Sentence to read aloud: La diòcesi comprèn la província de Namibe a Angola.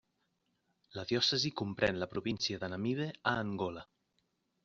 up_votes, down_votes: 2, 0